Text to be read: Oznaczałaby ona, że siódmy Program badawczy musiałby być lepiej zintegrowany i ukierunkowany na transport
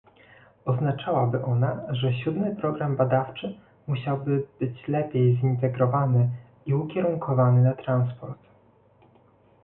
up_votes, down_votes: 2, 0